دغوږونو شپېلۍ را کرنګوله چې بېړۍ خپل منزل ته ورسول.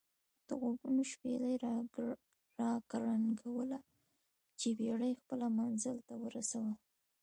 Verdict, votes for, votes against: rejected, 0, 2